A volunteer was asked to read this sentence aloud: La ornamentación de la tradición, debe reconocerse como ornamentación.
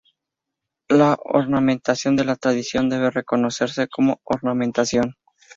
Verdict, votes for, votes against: accepted, 2, 0